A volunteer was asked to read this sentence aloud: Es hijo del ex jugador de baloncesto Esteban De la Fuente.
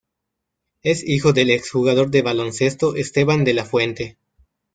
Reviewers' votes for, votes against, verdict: 2, 0, accepted